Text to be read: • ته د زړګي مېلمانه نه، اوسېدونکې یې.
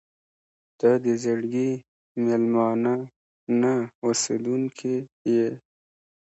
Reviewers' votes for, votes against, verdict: 2, 0, accepted